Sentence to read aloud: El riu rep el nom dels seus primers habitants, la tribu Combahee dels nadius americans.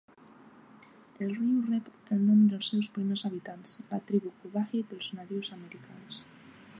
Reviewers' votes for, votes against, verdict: 2, 0, accepted